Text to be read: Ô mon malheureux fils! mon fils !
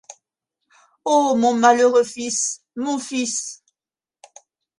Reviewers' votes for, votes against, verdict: 2, 0, accepted